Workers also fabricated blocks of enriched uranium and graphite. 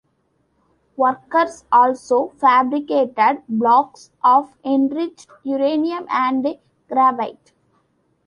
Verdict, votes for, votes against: accepted, 2, 1